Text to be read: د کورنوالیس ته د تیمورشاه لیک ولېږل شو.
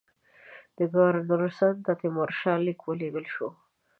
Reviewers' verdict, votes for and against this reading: accepted, 2, 1